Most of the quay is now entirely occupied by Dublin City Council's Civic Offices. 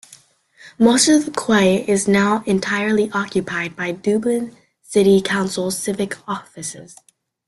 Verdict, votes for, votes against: rejected, 1, 2